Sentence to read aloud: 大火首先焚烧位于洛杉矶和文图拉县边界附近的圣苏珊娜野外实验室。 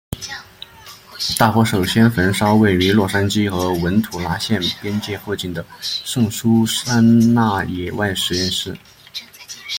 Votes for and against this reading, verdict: 2, 1, accepted